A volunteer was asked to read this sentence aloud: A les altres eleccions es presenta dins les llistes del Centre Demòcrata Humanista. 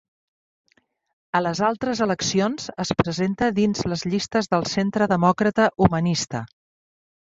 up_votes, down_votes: 3, 0